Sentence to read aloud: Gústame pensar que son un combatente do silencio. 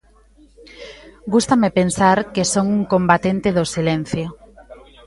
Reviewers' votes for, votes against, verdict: 1, 2, rejected